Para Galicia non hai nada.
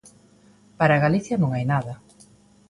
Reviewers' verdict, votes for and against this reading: accepted, 2, 0